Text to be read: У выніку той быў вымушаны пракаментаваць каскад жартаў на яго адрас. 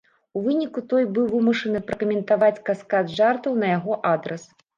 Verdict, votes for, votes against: accepted, 2, 0